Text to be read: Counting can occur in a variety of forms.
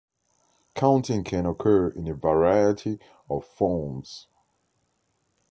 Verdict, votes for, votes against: accepted, 2, 0